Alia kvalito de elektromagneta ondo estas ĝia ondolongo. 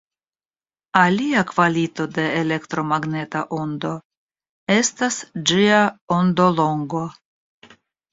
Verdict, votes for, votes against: accepted, 2, 0